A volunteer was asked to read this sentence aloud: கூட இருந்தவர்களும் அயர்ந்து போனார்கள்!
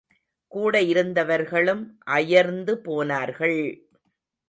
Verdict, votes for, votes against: accepted, 2, 0